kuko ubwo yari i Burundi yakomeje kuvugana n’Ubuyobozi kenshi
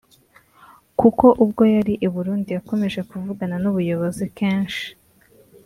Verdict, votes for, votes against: accepted, 2, 0